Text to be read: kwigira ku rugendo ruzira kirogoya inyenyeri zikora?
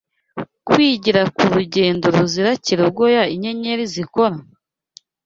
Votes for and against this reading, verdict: 2, 0, accepted